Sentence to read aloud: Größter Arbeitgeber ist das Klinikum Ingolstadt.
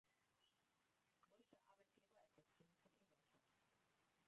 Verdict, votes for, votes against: rejected, 0, 2